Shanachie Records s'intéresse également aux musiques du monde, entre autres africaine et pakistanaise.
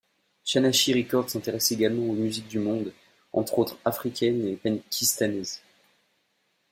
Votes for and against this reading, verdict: 1, 2, rejected